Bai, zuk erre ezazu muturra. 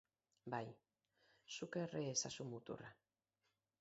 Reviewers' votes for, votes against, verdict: 4, 0, accepted